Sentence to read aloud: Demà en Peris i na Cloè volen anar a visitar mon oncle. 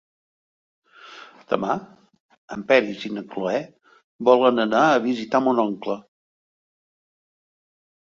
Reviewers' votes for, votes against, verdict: 3, 0, accepted